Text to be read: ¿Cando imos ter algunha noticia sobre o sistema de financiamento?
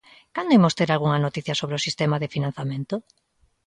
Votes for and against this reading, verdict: 1, 2, rejected